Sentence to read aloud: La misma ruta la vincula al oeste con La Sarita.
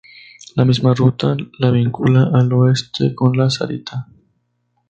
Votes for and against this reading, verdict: 2, 0, accepted